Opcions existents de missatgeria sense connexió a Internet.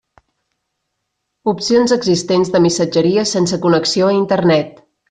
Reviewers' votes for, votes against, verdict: 3, 0, accepted